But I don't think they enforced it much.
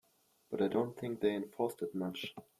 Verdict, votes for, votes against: accepted, 2, 0